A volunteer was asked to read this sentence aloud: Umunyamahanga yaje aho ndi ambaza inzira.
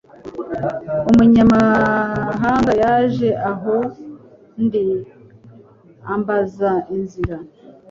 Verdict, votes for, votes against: accepted, 2, 0